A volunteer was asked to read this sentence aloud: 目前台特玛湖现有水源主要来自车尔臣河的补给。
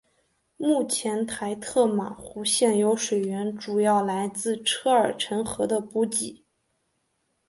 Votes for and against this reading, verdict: 2, 0, accepted